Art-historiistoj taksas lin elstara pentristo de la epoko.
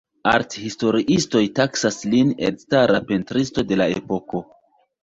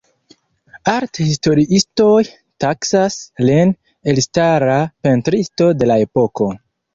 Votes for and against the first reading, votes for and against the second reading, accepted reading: 2, 0, 0, 2, first